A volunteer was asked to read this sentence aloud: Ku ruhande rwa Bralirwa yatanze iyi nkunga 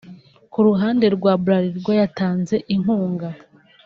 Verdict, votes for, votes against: rejected, 0, 2